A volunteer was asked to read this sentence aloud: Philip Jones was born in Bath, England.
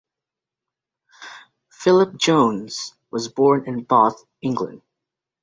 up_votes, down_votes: 2, 0